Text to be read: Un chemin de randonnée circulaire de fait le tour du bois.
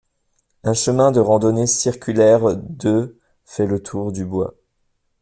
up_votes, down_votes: 0, 2